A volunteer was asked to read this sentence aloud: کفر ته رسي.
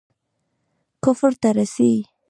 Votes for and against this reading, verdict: 2, 0, accepted